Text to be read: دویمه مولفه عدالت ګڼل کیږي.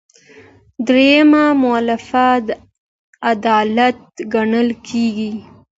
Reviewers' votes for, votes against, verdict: 2, 0, accepted